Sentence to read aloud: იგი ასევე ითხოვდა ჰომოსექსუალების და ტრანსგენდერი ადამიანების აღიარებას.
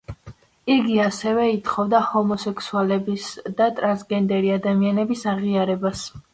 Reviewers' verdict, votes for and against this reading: rejected, 1, 2